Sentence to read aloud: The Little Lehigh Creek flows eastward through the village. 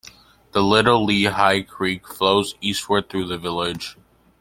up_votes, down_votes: 2, 0